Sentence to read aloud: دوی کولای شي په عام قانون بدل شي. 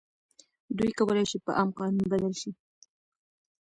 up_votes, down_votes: 2, 0